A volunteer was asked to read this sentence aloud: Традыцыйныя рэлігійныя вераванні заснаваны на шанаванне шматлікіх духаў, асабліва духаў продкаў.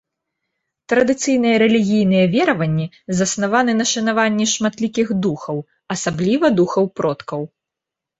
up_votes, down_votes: 2, 0